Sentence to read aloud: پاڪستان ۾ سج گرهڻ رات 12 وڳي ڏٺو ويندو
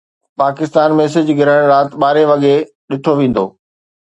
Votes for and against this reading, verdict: 0, 2, rejected